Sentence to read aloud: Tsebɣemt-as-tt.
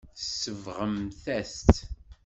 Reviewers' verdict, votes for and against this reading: accepted, 2, 0